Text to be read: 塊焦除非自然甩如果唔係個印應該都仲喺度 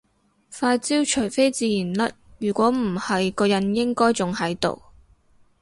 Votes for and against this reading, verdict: 0, 2, rejected